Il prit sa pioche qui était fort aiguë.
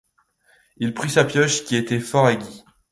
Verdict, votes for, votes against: rejected, 0, 2